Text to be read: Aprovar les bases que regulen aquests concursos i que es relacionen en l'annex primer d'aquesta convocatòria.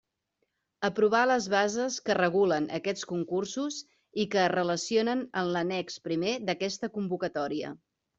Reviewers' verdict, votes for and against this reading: accepted, 3, 0